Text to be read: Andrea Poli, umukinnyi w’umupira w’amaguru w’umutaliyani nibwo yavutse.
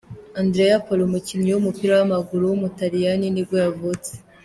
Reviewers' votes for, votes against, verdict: 2, 0, accepted